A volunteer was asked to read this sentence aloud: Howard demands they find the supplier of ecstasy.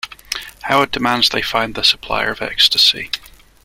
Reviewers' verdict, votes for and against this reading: accepted, 2, 1